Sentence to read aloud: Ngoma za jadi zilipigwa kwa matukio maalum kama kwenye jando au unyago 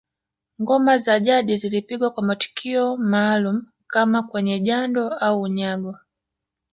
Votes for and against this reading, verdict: 1, 2, rejected